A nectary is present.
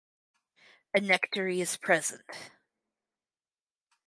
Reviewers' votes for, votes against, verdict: 4, 0, accepted